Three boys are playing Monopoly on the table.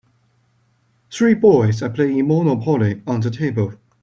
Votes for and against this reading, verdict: 2, 0, accepted